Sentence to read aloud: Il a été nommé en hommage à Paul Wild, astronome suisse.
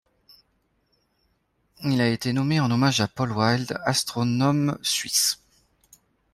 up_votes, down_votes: 2, 0